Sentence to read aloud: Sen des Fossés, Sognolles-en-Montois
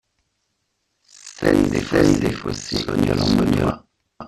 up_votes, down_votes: 0, 3